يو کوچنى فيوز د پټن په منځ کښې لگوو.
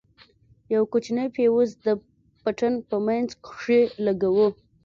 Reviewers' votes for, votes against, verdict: 2, 0, accepted